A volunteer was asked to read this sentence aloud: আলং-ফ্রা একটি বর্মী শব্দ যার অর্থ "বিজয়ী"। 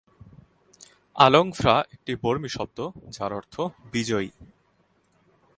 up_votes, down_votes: 2, 0